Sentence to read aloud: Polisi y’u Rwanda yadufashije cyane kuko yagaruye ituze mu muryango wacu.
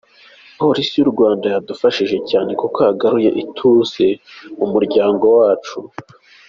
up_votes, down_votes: 2, 0